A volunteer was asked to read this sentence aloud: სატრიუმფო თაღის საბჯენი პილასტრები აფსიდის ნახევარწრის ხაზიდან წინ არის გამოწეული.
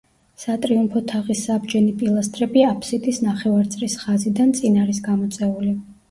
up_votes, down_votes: 1, 2